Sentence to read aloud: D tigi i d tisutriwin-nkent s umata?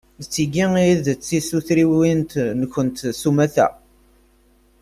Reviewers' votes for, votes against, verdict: 0, 2, rejected